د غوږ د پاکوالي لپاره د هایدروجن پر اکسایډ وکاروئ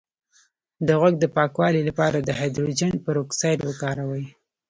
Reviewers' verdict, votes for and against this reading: rejected, 0, 2